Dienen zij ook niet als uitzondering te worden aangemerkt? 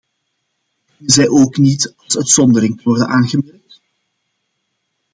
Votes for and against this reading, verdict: 0, 2, rejected